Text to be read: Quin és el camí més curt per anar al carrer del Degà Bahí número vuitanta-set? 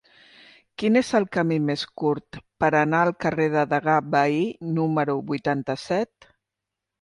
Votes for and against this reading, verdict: 2, 0, accepted